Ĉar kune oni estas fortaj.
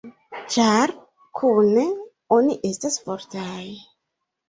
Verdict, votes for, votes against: accepted, 2, 0